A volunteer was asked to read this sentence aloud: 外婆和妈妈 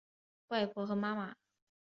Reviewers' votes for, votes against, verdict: 2, 1, accepted